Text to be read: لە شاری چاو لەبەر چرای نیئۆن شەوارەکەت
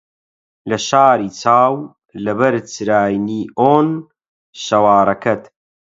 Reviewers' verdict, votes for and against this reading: accepted, 8, 0